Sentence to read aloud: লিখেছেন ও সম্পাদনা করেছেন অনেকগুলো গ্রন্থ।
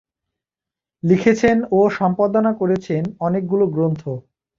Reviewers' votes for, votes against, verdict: 2, 0, accepted